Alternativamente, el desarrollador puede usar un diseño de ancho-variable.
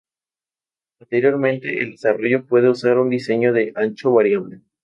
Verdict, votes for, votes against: rejected, 0, 2